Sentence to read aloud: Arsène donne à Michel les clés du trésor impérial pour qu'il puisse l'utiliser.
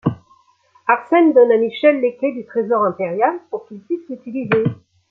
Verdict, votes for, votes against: accepted, 2, 0